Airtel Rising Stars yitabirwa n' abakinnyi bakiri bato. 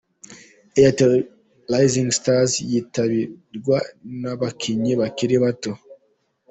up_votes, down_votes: 1, 2